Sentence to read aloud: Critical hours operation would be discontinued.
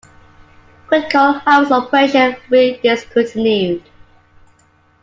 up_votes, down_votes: 1, 2